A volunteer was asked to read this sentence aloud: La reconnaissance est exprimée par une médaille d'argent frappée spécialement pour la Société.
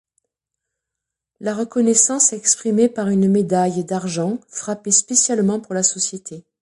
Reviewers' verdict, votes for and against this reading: rejected, 1, 2